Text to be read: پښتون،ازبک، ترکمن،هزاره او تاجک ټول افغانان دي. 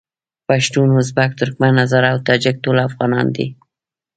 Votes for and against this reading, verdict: 1, 2, rejected